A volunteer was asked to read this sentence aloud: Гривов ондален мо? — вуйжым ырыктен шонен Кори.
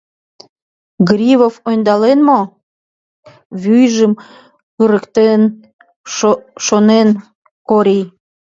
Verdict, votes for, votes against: rejected, 0, 2